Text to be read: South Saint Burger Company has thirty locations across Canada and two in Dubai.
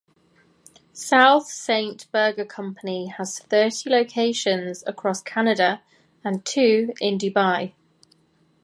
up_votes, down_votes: 2, 0